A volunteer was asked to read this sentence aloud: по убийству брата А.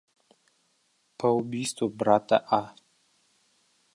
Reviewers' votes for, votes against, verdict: 0, 2, rejected